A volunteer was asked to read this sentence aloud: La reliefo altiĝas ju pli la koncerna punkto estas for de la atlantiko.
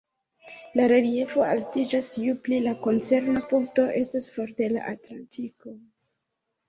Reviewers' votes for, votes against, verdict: 1, 2, rejected